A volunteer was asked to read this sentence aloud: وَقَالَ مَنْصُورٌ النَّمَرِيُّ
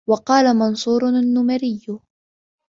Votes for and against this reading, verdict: 2, 0, accepted